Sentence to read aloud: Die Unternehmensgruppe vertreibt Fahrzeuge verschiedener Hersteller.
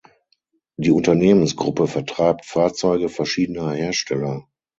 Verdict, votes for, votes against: accepted, 6, 0